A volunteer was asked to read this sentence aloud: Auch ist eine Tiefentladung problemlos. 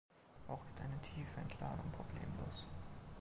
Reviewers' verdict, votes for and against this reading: rejected, 0, 2